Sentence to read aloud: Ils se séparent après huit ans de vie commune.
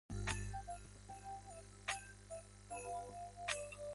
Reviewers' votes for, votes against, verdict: 0, 2, rejected